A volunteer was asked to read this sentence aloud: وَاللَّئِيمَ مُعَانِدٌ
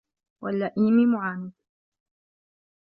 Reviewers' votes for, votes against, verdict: 0, 2, rejected